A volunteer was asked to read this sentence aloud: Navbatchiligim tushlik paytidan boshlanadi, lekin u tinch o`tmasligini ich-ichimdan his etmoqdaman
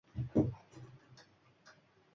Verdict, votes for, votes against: rejected, 1, 2